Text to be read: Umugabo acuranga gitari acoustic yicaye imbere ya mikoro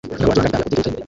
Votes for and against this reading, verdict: 0, 2, rejected